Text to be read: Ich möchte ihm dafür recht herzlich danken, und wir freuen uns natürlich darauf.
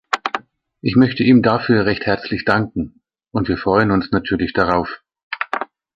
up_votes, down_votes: 1, 2